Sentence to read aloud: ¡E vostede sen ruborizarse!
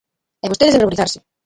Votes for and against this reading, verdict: 0, 2, rejected